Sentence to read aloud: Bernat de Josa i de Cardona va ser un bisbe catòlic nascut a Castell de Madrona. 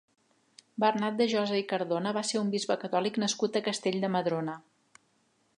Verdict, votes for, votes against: rejected, 2, 3